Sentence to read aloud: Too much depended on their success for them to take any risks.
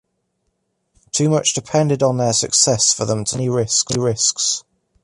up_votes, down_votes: 1, 2